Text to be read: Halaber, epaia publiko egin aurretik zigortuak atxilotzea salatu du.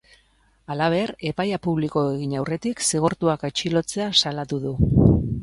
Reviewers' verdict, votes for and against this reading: accepted, 2, 0